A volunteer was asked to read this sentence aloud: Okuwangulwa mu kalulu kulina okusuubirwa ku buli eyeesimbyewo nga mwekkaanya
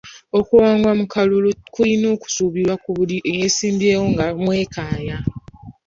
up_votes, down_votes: 0, 3